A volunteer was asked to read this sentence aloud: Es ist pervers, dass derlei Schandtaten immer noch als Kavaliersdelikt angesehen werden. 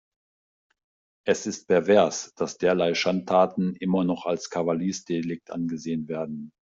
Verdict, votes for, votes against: accepted, 2, 1